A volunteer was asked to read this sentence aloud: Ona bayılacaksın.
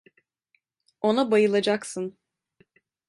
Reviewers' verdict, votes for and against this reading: accepted, 2, 0